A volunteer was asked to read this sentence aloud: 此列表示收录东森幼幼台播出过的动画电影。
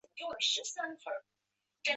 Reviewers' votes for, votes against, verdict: 1, 2, rejected